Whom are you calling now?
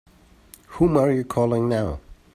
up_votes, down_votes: 3, 0